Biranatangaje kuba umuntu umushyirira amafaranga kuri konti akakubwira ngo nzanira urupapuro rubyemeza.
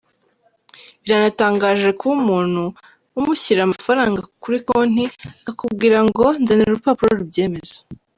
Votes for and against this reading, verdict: 1, 2, rejected